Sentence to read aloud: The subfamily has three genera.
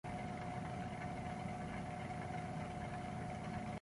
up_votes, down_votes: 1, 2